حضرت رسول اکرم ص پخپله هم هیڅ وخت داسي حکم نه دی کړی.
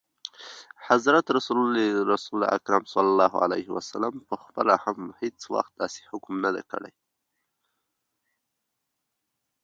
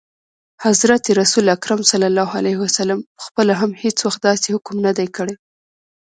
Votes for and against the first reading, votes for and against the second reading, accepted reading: 2, 1, 1, 2, first